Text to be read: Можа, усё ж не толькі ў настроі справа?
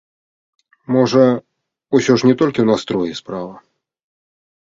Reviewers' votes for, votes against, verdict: 1, 2, rejected